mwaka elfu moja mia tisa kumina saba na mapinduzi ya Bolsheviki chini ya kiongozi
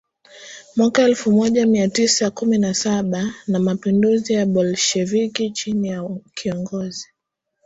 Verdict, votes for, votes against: accepted, 2, 1